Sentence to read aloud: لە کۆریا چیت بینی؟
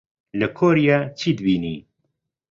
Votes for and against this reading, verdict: 2, 0, accepted